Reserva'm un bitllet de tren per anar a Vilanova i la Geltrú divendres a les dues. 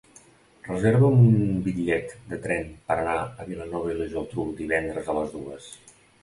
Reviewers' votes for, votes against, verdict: 2, 0, accepted